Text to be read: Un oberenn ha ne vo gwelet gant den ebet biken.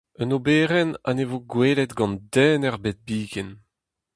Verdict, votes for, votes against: accepted, 2, 0